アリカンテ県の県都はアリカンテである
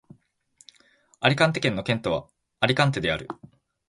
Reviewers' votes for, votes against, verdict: 2, 0, accepted